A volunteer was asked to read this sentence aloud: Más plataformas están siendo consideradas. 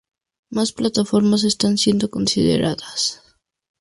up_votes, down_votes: 2, 0